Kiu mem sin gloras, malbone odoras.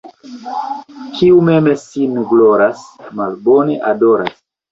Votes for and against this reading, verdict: 1, 2, rejected